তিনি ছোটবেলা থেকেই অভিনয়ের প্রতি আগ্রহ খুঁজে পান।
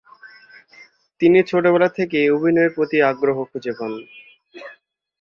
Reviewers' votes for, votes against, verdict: 4, 0, accepted